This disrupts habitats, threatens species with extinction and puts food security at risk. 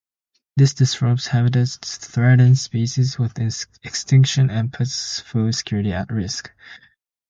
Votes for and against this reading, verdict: 0, 2, rejected